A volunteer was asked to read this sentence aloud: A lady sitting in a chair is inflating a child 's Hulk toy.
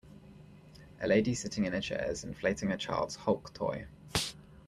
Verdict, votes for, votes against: rejected, 1, 2